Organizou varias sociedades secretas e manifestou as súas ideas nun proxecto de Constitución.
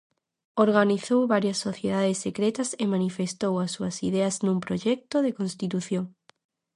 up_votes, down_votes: 0, 2